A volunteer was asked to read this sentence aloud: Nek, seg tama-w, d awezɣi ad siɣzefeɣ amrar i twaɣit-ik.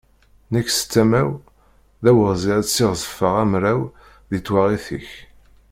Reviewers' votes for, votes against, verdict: 1, 2, rejected